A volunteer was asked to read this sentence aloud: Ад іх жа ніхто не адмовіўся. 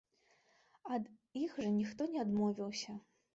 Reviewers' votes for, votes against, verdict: 2, 0, accepted